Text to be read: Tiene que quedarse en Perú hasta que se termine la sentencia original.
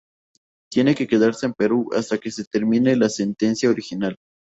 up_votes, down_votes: 2, 0